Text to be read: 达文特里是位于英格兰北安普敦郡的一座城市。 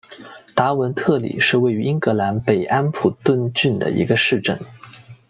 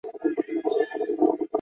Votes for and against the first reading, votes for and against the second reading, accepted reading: 2, 0, 1, 2, first